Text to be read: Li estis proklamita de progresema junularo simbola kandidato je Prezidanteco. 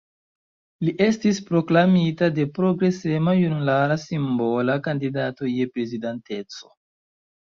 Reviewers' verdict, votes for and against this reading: accepted, 2, 0